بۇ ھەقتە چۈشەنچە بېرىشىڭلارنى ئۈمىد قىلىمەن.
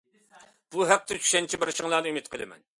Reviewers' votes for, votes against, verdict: 2, 0, accepted